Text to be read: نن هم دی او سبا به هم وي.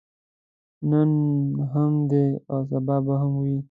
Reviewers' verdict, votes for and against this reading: accepted, 2, 0